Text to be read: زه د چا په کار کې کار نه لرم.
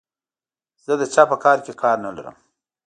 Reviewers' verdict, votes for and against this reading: accepted, 3, 0